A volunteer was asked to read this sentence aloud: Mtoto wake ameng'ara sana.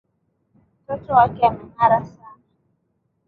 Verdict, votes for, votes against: accepted, 2, 0